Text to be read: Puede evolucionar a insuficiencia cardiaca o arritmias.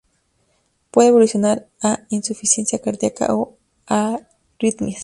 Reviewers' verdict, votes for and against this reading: rejected, 0, 2